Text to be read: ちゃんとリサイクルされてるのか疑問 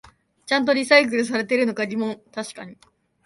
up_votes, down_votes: 1, 2